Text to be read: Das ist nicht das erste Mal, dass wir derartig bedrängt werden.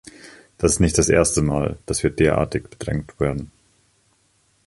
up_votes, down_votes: 1, 2